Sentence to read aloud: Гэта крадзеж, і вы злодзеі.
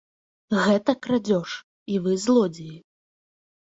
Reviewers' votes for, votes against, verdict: 1, 2, rejected